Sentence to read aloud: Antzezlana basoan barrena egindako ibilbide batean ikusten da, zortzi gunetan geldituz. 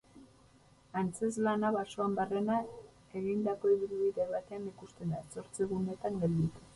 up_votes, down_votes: 0, 6